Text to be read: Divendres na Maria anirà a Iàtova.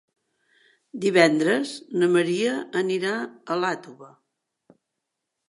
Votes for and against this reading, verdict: 4, 0, accepted